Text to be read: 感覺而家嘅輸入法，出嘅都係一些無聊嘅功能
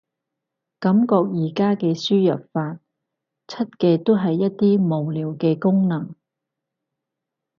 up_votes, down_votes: 0, 4